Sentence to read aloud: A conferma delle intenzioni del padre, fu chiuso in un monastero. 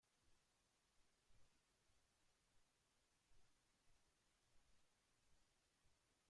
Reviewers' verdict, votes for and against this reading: rejected, 0, 2